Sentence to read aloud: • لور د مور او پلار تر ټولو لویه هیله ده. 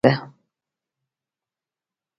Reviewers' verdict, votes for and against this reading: rejected, 0, 2